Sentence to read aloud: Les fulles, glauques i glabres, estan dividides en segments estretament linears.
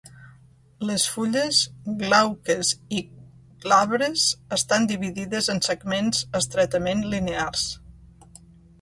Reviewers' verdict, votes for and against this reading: rejected, 0, 2